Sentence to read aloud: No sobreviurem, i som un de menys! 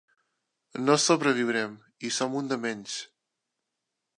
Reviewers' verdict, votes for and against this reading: accepted, 2, 1